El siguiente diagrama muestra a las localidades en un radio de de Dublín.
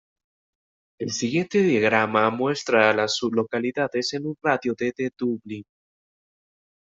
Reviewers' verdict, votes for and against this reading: rejected, 1, 2